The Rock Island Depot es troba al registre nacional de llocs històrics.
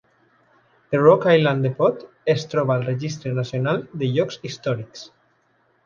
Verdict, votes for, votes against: accepted, 2, 1